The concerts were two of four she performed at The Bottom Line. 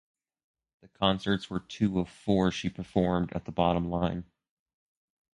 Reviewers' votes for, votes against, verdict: 2, 0, accepted